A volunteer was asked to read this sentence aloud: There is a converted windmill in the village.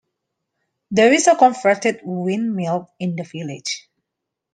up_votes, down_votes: 2, 1